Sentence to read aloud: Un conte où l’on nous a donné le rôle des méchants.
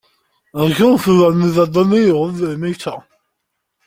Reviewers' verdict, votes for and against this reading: rejected, 1, 2